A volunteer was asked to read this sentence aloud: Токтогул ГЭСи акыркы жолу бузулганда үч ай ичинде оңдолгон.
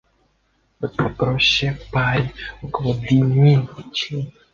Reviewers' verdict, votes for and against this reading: rejected, 0, 2